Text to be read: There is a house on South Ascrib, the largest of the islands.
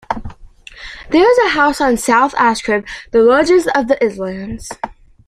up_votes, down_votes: 0, 2